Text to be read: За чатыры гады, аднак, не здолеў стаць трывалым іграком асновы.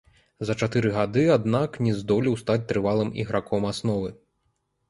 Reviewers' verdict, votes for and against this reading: rejected, 1, 2